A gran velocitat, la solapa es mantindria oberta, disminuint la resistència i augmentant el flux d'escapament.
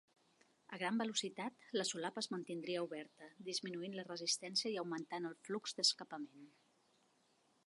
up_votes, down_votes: 3, 0